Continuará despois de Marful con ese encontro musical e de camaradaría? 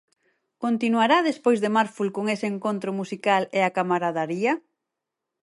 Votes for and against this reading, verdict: 0, 4, rejected